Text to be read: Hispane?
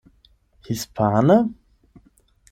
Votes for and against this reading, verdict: 8, 0, accepted